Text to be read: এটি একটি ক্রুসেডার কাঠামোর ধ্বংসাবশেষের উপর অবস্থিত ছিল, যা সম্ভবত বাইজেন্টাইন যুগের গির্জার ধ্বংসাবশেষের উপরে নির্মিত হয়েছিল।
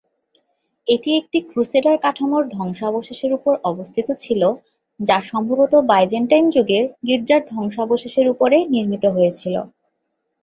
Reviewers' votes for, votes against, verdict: 2, 0, accepted